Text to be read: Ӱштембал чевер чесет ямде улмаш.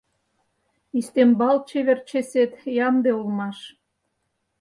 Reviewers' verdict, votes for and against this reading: rejected, 0, 4